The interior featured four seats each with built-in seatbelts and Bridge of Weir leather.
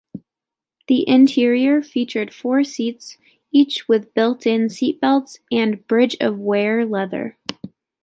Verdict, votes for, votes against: accepted, 2, 0